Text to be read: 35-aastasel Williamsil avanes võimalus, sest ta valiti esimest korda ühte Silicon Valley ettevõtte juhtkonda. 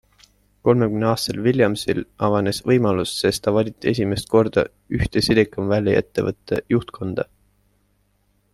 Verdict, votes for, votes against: rejected, 0, 2